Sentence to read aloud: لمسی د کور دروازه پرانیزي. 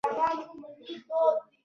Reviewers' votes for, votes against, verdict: 0, 2, rejected